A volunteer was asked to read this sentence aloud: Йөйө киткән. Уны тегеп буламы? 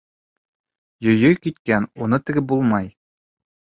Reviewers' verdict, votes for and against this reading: accepted, 2, 1